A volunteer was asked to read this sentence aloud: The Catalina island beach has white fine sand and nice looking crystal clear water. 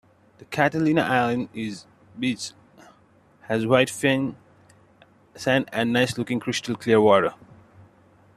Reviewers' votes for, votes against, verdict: 0, 2, rejected